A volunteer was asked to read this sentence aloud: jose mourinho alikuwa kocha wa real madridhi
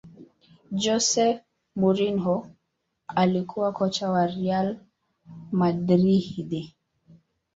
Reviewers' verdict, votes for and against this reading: rejected, 1, 2